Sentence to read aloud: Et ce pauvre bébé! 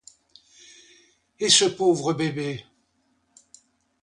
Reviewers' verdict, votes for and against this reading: accepted, 2, 0